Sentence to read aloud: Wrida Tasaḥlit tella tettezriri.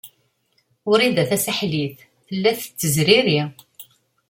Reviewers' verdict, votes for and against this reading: accepted, 2, 0